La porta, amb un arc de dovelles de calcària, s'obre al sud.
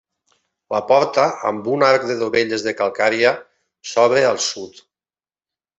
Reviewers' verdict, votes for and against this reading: accepted, 2, 0